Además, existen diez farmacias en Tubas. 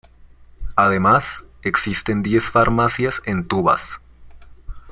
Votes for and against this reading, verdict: 0, 2, rejected